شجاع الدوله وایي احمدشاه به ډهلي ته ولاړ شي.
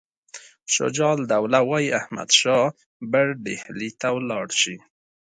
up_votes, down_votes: 1, 2